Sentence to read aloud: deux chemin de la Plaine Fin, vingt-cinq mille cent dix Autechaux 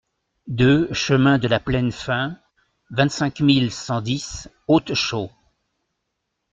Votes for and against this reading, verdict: 2, 0, accepted